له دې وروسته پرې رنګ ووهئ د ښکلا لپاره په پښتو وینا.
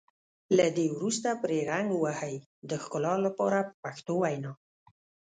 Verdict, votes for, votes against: accepted, 2, 0